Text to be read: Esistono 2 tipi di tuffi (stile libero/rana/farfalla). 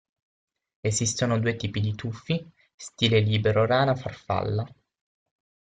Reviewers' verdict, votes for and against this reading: rejected, 0, 2